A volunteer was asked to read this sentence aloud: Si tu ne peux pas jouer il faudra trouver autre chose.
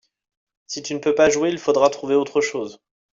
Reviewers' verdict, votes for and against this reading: accepted, 2, 0